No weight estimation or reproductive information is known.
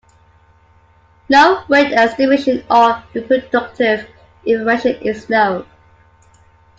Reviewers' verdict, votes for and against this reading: rejected, 0, 2